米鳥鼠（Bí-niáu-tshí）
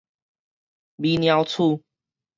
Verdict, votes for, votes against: rejected, 2, 2